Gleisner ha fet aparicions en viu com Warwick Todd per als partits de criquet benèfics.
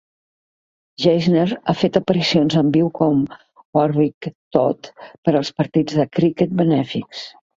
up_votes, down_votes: 1, 2